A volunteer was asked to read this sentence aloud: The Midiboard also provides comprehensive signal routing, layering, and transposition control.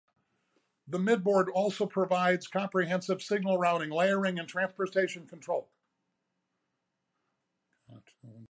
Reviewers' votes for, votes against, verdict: 1, 2, rejected